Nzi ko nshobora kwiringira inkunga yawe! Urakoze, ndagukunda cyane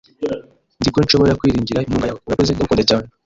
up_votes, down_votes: 0, 2